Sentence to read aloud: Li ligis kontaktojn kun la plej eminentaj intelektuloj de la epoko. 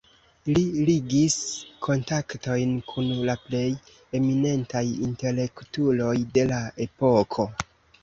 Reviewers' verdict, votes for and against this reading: rejected, 1, 2